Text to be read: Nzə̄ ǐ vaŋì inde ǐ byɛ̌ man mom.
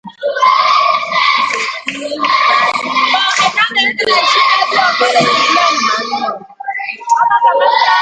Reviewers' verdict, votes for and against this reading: rejected, 0, 2